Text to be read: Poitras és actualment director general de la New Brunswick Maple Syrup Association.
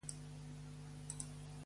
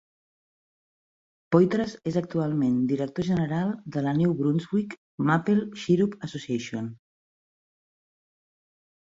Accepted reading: second